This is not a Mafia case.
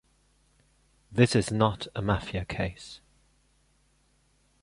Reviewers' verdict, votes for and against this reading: accepted, 3, 0